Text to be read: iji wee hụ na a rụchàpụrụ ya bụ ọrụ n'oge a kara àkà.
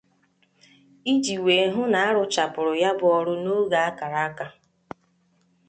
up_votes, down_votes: 2, 0